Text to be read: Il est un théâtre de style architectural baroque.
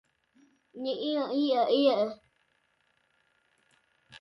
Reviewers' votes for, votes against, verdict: 0, 2, rejected